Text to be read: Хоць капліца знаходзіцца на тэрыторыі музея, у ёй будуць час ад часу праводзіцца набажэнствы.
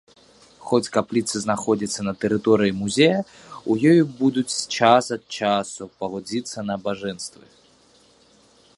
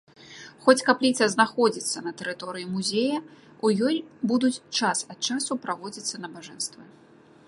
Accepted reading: second